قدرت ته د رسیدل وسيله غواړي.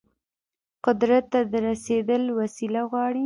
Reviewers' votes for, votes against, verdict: 1, 2, rejected